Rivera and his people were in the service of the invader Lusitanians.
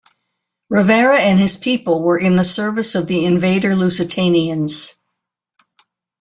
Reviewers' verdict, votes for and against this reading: accepted, 2, 0